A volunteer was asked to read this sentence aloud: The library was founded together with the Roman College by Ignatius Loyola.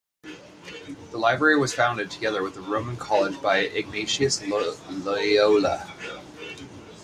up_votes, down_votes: 1, 2